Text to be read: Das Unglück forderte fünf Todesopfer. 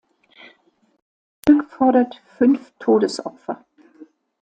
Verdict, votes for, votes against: rejected, 0, 2